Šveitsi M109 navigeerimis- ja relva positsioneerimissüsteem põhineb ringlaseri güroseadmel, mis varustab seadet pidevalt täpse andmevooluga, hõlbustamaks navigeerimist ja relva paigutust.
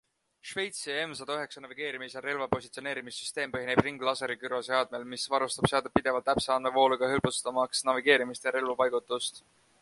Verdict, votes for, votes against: rejected, 0, 2